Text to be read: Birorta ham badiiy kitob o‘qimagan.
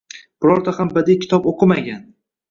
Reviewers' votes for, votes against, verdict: 1, 2, rejected